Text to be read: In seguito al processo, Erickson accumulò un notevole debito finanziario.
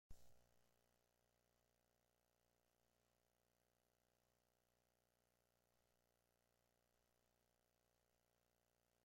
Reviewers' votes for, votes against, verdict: 0, 2, rejected